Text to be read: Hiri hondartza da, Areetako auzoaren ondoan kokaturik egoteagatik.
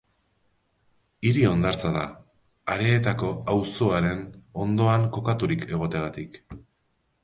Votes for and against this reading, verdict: 2, 0, accepted